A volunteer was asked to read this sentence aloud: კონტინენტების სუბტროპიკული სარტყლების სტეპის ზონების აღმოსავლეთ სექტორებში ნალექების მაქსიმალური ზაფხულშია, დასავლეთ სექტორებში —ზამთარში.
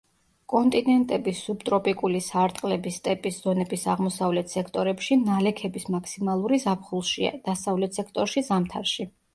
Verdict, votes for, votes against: accepted, 2, 0